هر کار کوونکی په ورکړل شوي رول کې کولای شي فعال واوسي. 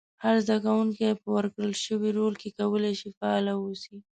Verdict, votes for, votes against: rejected, 0, 2